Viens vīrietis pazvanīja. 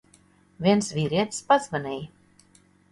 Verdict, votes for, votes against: accepted, 2, 0